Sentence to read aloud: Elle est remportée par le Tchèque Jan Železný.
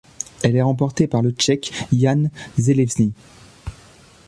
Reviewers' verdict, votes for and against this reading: accepted, 2, 0